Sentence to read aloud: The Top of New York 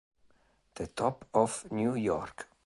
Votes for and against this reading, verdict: 1, 2, rejected